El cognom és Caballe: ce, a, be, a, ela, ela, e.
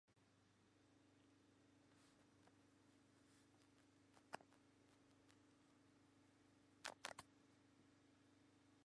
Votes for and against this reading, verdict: 0, 3, rejected